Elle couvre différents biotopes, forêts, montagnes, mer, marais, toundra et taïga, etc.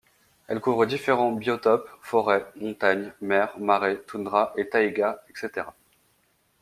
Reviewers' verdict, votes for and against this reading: accepted, 2, 0